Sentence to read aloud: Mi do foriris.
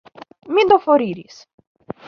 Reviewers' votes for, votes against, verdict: 2, 0, accepted